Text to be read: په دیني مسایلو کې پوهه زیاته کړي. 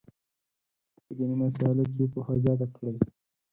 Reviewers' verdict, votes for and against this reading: rejected, 2, 4